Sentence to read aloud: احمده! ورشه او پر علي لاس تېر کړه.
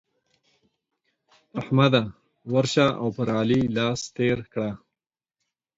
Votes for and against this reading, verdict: 6, 0, accepted